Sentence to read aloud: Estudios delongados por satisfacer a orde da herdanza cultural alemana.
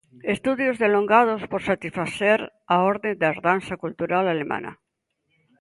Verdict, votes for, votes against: accepted, 2, 0